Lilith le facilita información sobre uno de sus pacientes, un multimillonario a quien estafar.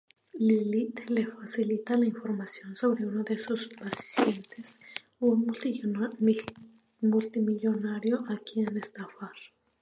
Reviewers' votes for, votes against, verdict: 0, 2, rejected